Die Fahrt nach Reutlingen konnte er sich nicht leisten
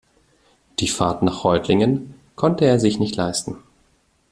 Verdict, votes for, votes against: accepted, 2, 0